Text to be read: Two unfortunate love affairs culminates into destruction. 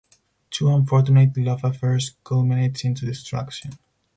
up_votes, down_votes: 4, 0